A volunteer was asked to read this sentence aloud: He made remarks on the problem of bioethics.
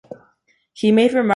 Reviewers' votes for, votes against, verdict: 0, 2, rejected